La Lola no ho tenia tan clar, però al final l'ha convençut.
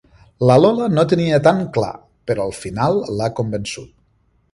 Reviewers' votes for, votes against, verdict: 0, 2, rejected